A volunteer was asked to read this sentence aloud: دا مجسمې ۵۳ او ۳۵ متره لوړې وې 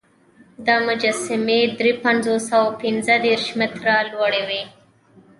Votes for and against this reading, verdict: 0, 2, rejected